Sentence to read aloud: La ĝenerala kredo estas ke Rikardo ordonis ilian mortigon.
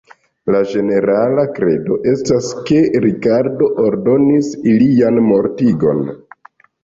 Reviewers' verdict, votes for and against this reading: rejected, 1, 2